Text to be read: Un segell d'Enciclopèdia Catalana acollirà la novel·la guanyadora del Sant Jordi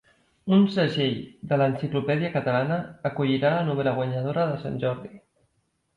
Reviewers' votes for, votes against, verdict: 1, 2, rejected